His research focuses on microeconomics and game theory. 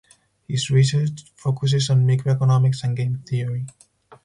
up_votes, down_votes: 4, 0